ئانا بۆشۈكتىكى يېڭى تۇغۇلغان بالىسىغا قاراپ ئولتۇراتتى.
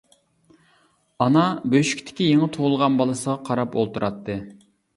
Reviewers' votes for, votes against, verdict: 2, 0, accepted